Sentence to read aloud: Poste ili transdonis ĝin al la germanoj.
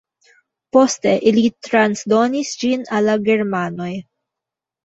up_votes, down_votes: 1, 2